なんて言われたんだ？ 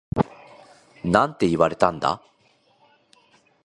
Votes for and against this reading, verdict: 9, 2, accepted